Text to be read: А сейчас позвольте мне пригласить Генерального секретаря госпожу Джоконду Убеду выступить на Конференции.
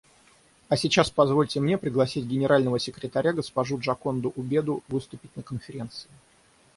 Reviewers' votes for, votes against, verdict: 3, 3, rejected